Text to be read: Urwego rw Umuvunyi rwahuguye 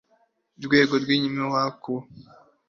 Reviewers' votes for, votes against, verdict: 1, 3, rejected